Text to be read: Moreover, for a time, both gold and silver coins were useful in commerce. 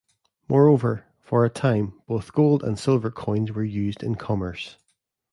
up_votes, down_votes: 0, 2